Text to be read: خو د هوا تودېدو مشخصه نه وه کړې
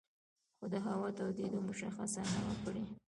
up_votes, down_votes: 1, 2